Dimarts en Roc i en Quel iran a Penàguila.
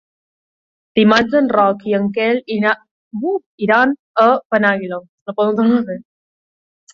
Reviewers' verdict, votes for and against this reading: rejected, 0, 2